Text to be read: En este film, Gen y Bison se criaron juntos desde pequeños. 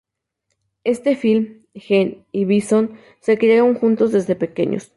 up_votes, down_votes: 0, 2